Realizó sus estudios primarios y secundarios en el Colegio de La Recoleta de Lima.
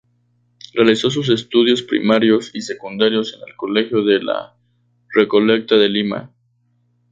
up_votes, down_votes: 2, 0